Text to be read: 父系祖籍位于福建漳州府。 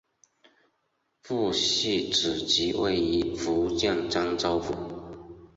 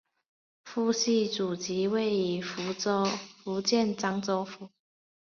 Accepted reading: first